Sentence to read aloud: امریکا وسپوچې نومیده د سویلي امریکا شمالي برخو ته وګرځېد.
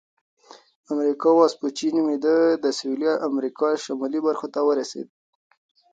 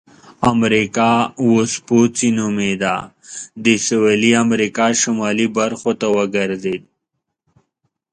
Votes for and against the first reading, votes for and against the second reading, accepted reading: 0, 2, 2, 0, second